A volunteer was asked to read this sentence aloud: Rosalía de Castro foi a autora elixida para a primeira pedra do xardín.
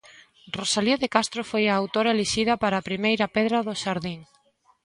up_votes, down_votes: 2, 0